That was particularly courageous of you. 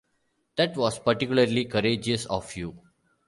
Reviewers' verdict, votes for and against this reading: accepted, 2, 0